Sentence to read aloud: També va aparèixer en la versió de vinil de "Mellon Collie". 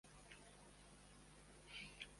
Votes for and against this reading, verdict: 0, 2, rejected